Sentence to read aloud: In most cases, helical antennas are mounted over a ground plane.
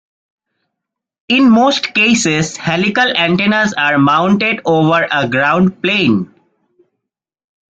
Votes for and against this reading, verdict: 2, 1, accepted